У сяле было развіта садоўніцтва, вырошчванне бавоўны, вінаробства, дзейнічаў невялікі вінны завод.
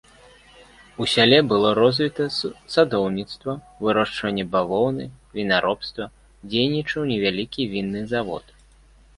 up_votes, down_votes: 1, 2